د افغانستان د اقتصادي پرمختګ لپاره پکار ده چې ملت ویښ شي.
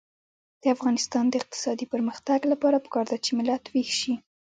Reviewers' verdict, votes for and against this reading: accepted, 2, 0